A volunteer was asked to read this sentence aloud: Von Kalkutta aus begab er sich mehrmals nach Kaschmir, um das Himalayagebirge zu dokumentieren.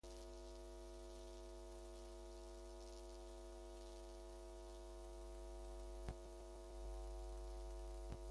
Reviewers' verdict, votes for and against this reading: rejected, 0, 2